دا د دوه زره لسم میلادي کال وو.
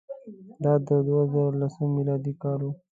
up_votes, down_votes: 2, 0